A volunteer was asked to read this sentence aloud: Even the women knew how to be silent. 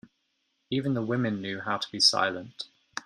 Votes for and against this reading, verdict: 2, 0, accepted